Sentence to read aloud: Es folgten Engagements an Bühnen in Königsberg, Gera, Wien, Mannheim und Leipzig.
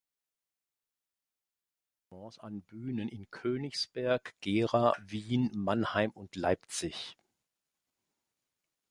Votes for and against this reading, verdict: 1, 2, rejected